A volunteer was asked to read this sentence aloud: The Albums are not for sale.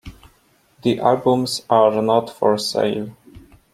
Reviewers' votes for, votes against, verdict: 2, 1, accepted